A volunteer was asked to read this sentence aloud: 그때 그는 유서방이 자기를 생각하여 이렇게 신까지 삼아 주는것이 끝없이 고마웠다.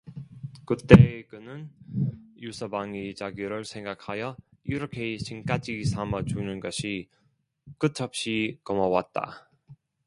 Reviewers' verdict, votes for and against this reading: rejected, 0, 2